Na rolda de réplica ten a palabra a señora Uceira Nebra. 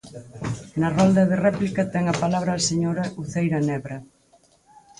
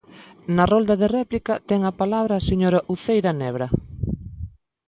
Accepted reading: second